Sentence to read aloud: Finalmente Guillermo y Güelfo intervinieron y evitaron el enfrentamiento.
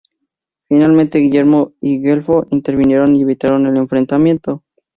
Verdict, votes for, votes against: accepted, 2, 0